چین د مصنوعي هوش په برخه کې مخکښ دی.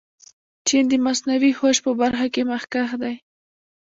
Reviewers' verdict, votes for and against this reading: rejected, 1, 2